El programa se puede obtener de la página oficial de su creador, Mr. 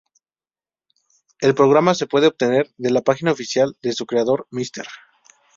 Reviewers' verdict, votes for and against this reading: accepted, 2, 0